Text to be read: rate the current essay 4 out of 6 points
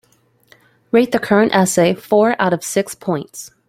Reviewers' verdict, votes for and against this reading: rejected, 0, 2